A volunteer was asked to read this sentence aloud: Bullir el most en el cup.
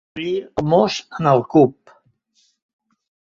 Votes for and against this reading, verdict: 0, 2, rejected